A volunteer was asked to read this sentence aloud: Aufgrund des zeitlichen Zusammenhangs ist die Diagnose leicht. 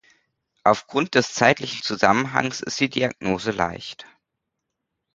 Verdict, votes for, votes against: accepted, 2, 0